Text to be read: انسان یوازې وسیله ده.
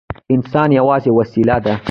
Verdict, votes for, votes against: rejected, 1, 2